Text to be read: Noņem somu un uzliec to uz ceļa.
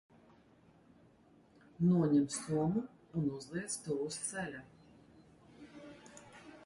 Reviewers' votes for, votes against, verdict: 2, 1, accepted